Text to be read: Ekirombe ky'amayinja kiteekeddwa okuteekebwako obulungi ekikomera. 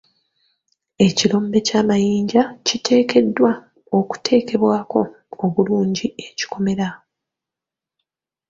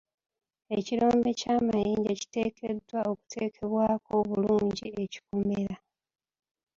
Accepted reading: first